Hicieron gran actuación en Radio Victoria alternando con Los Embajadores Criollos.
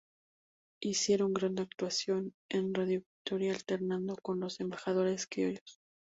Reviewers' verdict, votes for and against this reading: accepted, 2, 0